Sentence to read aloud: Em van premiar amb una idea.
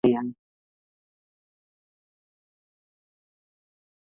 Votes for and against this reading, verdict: 0, 2, rejected